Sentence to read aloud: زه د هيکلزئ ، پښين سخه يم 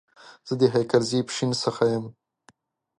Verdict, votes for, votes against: accepted, 2, 0